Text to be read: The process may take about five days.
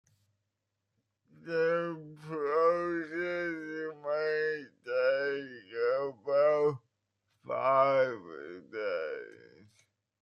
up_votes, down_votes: 2, 1